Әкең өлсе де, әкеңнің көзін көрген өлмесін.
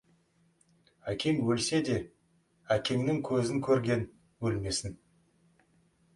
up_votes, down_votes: 2, 0